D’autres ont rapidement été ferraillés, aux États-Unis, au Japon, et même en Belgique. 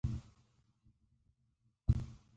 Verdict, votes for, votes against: rejected, 0, 2